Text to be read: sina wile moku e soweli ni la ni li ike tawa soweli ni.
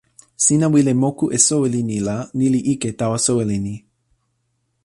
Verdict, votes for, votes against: accepted, 2, 0